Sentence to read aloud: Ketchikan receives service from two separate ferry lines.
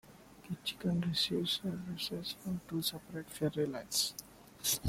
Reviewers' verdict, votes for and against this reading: rejected, 1, 2